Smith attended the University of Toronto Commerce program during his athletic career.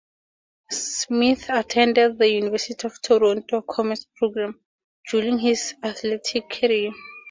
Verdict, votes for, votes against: accepted, 4, 0